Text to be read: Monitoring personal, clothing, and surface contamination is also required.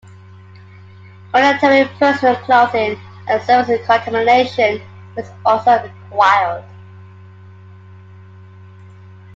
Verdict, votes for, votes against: accepted, 2, 1